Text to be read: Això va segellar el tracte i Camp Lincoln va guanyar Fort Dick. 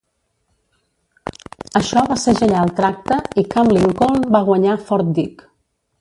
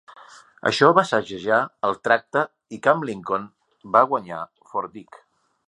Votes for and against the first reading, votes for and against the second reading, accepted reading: 0, 2, 3, 0, second